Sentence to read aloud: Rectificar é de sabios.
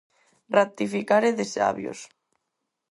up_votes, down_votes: 4, 0